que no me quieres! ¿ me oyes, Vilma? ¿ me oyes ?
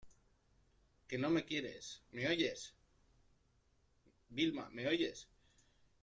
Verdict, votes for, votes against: rejected, 1, 2